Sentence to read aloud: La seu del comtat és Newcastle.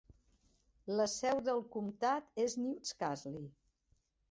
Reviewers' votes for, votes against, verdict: 0, 2, rejected